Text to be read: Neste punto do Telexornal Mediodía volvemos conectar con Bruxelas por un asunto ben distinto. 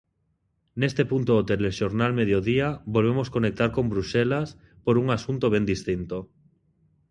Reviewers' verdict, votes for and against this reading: accepted, 2, 0